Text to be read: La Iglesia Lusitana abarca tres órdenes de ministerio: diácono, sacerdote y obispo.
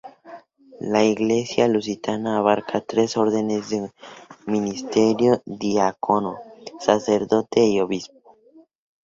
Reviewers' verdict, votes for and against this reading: rejected, 0, 2